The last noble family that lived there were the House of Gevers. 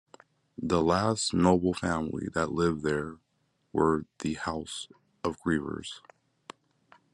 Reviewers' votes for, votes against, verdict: 1, 2, rejected